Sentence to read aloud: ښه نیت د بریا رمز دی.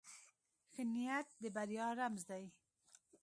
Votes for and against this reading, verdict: 2, 0, accepted